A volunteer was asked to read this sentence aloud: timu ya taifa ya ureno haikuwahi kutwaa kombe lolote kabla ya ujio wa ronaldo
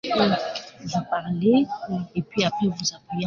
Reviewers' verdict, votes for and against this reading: rejected, 1, 2